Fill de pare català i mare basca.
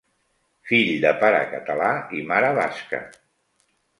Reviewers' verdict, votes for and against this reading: accepted, 2, 0